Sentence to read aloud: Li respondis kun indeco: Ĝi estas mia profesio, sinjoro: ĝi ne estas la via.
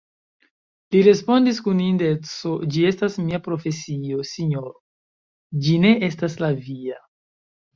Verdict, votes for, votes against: accepted, 2, 0